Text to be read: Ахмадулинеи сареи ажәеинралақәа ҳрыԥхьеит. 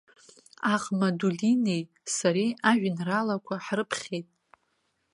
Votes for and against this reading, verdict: 1, 2, rejected